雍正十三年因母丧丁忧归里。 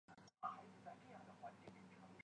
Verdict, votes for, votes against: rejected, 0, 3